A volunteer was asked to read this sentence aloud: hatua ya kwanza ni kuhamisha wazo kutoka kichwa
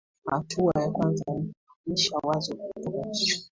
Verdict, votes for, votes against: accepted, 2, 1